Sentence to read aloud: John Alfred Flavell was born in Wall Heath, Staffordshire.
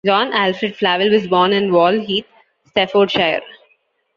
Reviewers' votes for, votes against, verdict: 1, 2, rejected